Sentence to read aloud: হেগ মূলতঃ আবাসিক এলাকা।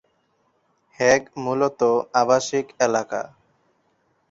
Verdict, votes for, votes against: rejected, 2, 2